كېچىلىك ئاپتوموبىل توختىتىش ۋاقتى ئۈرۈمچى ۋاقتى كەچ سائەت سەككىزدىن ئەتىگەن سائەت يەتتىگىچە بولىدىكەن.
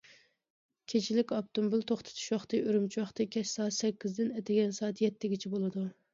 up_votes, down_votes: 0, 2